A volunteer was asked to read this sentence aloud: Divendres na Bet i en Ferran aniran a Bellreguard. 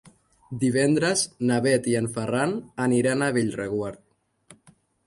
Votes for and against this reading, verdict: 2, 0, accepted